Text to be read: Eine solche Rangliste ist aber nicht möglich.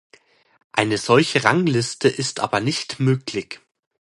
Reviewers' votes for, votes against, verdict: 0, 2, rejected